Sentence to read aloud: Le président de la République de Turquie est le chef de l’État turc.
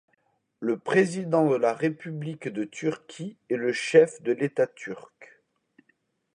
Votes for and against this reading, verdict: 2, 0, accepted